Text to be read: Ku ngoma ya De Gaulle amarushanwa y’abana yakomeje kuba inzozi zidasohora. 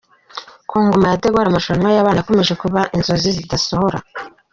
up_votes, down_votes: 1, 2